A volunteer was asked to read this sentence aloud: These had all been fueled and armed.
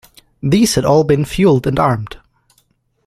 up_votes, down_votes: 2, 1